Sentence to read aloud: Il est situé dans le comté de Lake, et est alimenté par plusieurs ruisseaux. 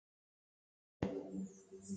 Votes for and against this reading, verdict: 0, 2, rejected